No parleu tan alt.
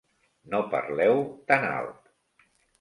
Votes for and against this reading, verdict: 2, 0, accepted